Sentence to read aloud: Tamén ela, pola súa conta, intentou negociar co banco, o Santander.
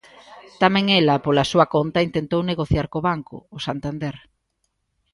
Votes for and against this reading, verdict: 2, 0, accepted